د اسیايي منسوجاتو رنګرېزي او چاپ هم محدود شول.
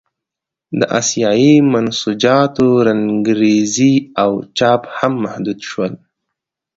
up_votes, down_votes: 2, 0